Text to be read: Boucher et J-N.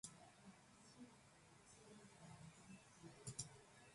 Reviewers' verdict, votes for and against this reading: rejected, 0, 2